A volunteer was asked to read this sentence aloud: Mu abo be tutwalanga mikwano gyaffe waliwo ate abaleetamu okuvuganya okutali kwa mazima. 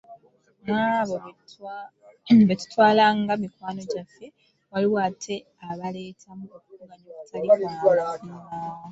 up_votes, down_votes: 0, 2